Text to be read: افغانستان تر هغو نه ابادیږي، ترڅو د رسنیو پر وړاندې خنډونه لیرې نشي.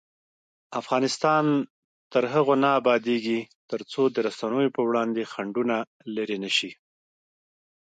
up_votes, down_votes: 1, 2